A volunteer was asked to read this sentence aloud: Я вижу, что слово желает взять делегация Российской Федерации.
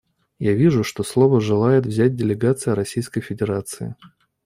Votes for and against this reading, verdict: 2, 1, accepted